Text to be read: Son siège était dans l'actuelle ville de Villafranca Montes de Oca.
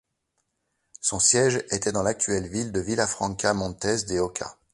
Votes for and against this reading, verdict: 2, 0, accepted